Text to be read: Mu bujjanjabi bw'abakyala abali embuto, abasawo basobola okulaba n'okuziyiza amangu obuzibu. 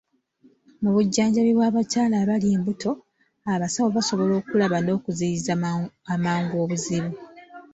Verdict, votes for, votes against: rejected, 1, 2